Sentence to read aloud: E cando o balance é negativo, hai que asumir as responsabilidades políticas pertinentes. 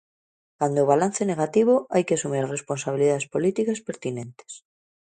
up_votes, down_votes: 0, 2